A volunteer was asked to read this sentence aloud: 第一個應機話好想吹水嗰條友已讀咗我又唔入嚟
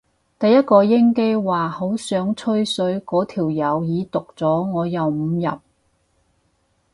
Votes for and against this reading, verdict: 2, 2, rejected